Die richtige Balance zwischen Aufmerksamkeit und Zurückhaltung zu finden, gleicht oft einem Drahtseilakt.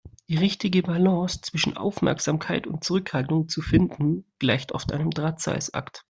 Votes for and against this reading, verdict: 1, 2, rejected